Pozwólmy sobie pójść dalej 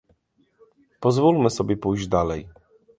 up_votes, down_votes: 2, 0